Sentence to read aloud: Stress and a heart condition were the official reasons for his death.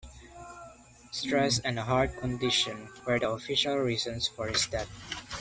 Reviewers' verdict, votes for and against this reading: accepted, 2, 0